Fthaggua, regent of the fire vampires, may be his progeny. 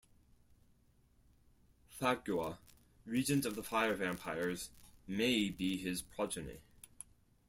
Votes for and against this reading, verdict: 2, 4, rejected